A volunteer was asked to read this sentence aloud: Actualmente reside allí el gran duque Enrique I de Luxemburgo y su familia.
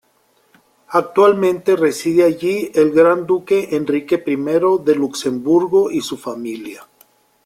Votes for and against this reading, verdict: 2, 0, accepted